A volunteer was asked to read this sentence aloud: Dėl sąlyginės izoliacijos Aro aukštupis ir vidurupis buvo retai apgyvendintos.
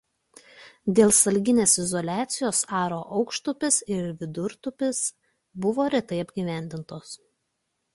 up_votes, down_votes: 0, 2